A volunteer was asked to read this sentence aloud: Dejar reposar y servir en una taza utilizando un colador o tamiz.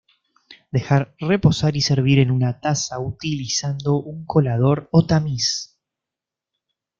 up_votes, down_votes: 2, 0